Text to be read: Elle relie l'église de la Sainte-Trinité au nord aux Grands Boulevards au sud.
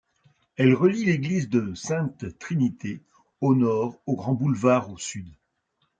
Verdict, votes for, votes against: rejected, 0, 2